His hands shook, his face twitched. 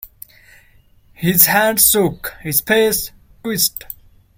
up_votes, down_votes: 0, 2